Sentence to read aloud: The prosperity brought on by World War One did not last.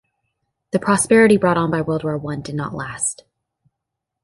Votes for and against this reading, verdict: 0, 2, rejected